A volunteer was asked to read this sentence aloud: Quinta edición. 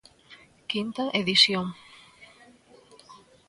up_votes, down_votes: 2, 1